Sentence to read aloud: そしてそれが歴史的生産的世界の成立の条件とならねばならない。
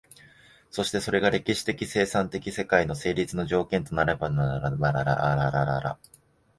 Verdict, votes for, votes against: rejected, 0, 2